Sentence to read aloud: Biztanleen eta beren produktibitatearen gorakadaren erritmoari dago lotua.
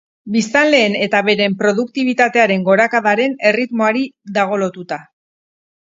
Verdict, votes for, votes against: rejected, 0, 2